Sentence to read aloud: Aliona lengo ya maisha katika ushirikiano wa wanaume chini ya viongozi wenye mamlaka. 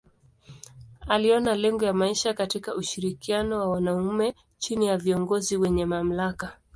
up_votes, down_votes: 2, 0